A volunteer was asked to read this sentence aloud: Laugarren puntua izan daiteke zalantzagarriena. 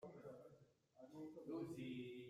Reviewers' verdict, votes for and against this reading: rejected, 0, 2